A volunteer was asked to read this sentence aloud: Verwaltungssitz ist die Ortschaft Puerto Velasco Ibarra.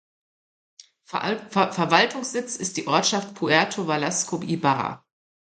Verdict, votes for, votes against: rejected, 0, 2